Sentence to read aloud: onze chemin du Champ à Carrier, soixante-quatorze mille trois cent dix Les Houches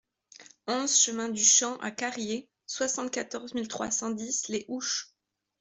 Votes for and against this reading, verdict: 2, 0, accepted